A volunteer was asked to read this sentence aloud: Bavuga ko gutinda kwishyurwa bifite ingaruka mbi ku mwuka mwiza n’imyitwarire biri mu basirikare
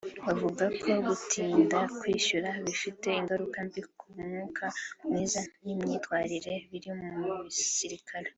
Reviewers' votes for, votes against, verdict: 3, 0, accepted